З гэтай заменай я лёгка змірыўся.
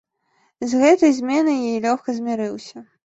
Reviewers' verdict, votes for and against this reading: rejected, 1, 2